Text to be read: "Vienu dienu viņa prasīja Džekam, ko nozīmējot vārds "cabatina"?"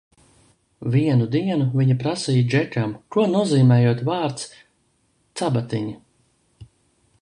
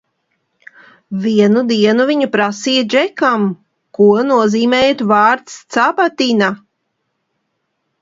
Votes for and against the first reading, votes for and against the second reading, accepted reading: 0, 2, 2, 0, second